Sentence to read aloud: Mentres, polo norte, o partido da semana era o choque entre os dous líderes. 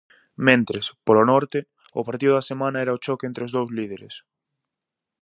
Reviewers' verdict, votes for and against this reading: accepted, 4, 0